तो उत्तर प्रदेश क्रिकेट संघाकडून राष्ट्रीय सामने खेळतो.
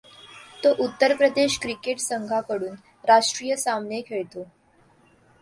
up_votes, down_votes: 2, 0